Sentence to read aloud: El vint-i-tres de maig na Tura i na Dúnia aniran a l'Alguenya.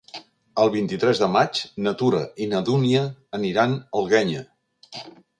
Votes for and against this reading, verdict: 0, 2, rejected